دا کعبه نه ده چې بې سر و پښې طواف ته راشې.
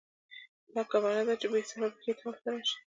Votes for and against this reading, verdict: 2, 0, accepted